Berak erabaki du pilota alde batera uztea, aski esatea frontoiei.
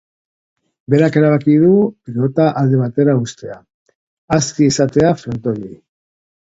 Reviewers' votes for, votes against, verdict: 0, 2, rejected